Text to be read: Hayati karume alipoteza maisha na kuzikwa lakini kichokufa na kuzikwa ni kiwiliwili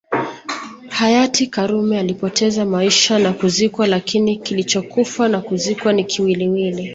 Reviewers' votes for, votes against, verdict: 2, 0, accepted